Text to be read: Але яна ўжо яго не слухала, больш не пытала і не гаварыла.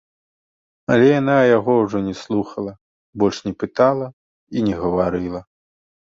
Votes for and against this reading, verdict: 1, 2, rejected